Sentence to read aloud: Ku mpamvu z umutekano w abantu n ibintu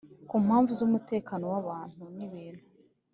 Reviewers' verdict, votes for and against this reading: accepted, 2, 0